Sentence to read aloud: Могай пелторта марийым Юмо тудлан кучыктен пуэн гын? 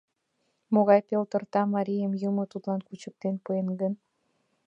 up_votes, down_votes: 2, 0